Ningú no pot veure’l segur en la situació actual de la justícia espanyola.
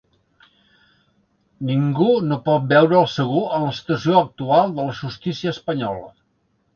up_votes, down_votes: 2, 0